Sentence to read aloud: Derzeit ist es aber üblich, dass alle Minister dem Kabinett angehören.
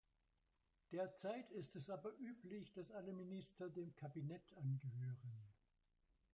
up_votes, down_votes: 0, 2